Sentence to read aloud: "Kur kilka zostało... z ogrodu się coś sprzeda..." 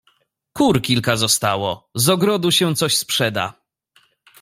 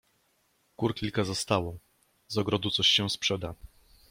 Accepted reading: first